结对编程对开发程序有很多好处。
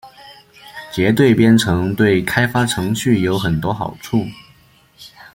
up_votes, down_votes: 2, 0